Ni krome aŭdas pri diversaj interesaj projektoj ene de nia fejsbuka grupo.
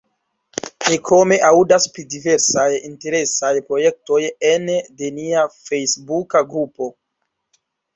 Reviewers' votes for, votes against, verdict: 0, 2, rejected